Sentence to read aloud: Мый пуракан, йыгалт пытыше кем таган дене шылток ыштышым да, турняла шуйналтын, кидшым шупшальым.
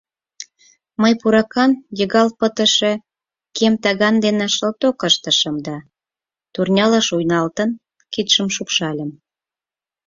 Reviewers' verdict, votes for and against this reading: accepted, 6, 0